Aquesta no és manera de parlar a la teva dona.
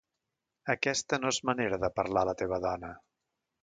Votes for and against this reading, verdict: 2, 0, accepted